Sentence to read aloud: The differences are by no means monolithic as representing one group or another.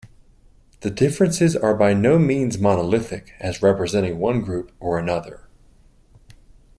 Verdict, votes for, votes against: accepted, 2, 0